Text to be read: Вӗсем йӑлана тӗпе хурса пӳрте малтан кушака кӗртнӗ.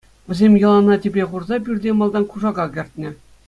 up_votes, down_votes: 2, 0